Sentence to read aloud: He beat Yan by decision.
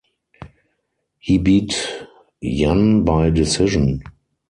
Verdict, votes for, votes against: rejected, 0, 4